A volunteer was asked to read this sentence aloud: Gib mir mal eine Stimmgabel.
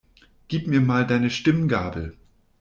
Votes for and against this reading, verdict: 0, 2, rejected